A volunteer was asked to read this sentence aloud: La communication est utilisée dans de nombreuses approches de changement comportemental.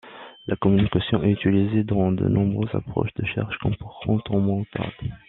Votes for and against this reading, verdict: 0, 2, rejected